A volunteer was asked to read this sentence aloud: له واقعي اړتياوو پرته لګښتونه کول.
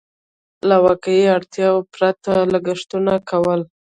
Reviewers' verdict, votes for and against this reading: rejected, 1, 2